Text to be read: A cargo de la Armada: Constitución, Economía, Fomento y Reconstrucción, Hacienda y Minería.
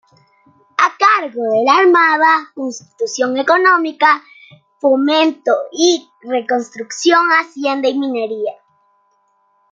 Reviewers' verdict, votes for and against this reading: rejected, 1, 2